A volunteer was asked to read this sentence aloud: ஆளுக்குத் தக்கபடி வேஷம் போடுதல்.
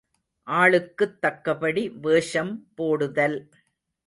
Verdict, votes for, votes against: accepted, 2, 0